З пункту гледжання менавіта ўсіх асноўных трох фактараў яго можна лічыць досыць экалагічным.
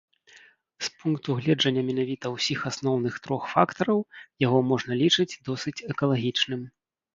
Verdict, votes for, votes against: rejected, 1, 2